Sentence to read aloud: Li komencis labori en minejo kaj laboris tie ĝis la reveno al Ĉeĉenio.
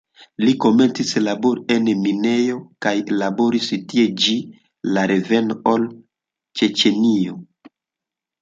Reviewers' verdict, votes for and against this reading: rejected, 0, 2